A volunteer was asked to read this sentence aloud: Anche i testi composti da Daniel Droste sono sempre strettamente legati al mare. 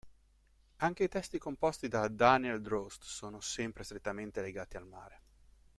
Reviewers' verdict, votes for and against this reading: accepted, 2, 1